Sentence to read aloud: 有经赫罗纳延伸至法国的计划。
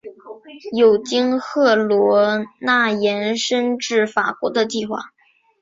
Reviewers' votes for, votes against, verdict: 1, 2, rejected